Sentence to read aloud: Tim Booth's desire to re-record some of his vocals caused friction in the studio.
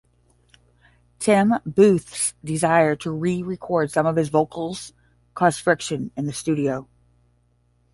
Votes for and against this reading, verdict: 10, 0, accepted